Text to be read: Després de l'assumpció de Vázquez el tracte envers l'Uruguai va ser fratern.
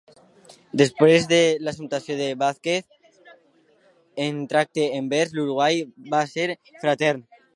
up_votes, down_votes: 0, 2